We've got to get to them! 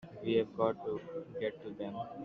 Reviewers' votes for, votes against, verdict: 1, 2, rejected